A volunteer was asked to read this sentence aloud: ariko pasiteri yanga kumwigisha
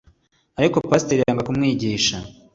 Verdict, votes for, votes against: accepted, 2, 0